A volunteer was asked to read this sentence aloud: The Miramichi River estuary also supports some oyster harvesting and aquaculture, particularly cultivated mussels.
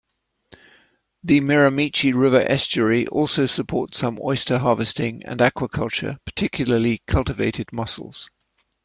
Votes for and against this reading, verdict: 2, 0, accepted